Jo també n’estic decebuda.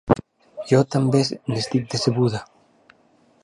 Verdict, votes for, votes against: accepted, 2, 1